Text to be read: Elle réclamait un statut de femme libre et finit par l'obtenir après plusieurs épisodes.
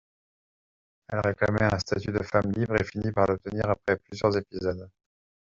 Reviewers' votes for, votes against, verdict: 2, 0, accepted